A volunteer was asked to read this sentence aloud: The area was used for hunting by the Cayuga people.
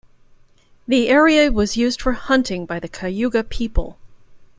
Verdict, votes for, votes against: accepted, 2, 0